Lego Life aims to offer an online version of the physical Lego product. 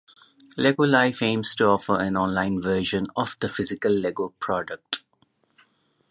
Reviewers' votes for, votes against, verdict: 4, 0, accepted